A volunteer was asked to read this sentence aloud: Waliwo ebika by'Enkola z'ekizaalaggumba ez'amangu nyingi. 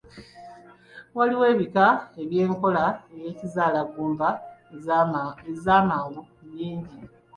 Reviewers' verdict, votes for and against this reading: rejected, 1, 2